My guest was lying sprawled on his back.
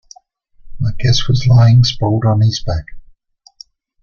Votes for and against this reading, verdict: 0, 2, rejected